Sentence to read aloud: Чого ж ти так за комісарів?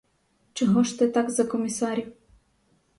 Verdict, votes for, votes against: rejected, 2, 4